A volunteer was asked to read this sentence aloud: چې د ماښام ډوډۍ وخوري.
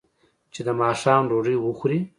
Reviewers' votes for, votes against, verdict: 2, 0, accepted